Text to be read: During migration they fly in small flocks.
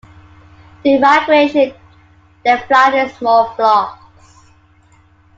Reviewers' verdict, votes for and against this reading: rejected, 1, 2